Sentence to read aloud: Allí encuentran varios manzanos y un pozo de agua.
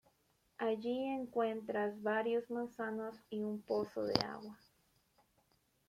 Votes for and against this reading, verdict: 0, 2, rejected